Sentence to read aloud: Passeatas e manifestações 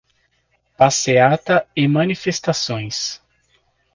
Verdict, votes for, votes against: rejected, 1, 2